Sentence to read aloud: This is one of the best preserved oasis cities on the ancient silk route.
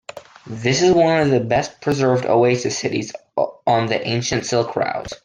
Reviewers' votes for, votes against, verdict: 2, 1, accepted